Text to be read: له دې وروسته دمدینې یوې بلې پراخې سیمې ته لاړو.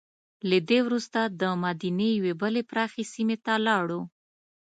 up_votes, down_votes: 2, 0